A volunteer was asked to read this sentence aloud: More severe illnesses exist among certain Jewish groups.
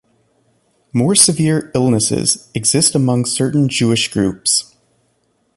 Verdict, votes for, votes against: accepted, 2, 0